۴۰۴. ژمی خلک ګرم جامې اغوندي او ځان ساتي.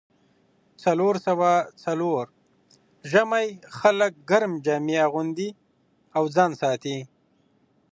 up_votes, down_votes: 0, 2